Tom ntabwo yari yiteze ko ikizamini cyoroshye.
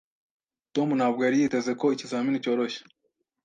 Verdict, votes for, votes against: accepted, 2, 0